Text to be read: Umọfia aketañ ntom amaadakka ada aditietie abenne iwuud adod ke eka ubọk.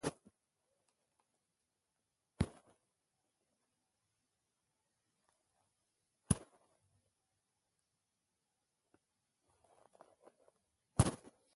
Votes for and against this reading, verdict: 1, 2, rejected